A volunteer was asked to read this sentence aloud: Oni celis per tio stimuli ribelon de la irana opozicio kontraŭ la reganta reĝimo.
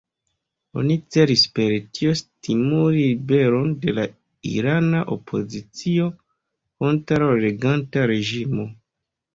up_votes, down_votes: 2, 0